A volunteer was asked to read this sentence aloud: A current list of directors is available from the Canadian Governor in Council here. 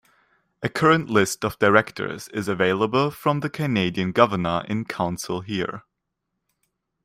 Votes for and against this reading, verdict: 2, 1, accepted